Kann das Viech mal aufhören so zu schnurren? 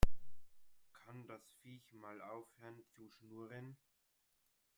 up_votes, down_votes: 0, 2